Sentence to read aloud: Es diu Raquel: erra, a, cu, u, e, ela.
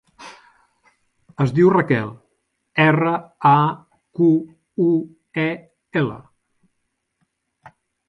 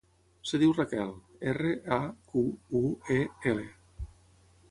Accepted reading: first